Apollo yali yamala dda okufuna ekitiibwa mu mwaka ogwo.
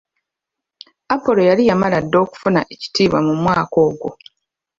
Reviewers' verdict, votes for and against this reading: accepted, 2, 1